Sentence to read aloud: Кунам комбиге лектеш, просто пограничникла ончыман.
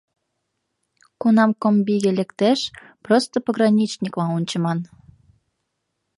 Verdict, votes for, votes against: accepted, 2, 0